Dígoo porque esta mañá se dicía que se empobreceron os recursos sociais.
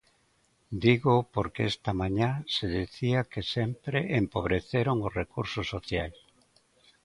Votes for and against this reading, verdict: 0, 2, rejected